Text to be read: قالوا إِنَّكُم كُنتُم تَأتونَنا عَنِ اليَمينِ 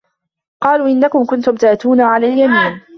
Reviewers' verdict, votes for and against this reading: rejected, 1, 2